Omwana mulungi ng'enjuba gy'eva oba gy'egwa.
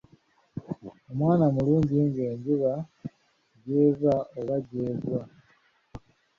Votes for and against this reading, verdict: 1, 2, rejected